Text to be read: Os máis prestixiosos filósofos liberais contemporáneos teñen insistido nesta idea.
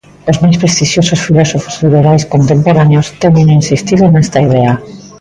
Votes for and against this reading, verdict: 0, 2, rejected